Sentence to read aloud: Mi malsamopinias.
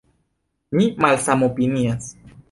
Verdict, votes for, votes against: accepted, 2, 0